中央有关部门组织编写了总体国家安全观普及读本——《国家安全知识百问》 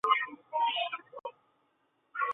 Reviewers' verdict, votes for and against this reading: rejected, 0, 2